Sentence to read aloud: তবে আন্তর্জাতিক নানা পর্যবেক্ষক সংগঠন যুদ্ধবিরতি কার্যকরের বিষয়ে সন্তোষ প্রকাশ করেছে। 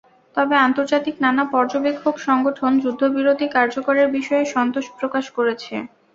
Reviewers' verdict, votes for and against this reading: accepted, 2, 0